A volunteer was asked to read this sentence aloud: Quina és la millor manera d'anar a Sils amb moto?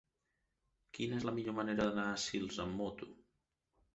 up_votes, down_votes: 3, 0